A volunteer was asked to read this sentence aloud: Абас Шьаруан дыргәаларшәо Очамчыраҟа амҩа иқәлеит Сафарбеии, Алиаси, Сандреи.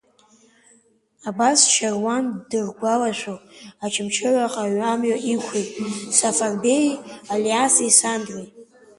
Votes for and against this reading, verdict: 2, 1, accepted